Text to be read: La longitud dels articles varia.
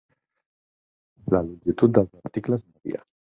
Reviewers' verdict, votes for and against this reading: rejected, 2, 4